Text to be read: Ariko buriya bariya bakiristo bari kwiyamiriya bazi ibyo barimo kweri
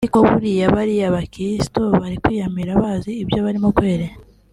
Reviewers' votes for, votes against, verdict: 2, 0, accepted